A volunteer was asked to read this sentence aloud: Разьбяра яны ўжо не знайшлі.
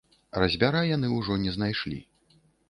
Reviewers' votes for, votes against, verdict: 3, 0, accepted